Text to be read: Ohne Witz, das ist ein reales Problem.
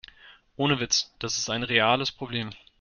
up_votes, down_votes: 2, 0